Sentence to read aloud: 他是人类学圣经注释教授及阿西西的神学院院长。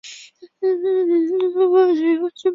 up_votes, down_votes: 0, 3